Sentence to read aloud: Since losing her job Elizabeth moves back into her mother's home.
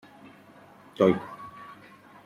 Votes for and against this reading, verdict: 1, 2, rejected